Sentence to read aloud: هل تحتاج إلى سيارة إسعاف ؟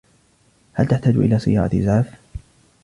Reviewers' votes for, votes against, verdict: 2, 0, accepted